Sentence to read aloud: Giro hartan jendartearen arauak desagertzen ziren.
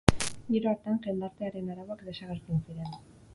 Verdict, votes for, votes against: rejected, 0, 4